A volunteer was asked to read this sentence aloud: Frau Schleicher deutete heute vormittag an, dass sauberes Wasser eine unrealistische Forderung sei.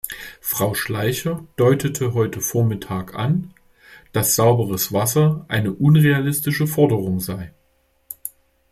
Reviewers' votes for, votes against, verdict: 2, 0, accepted